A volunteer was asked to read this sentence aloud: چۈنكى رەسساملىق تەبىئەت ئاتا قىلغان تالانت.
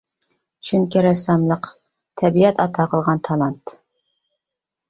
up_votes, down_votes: 3, 0